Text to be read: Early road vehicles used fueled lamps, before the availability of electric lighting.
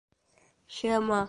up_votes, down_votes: 0, 2